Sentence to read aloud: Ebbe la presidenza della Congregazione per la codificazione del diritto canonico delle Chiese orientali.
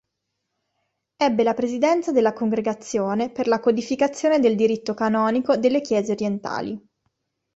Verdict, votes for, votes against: accepted, 2, 0